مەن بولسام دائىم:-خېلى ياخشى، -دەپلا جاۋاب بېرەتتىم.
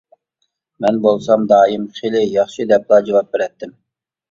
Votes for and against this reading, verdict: 2, 0, accepted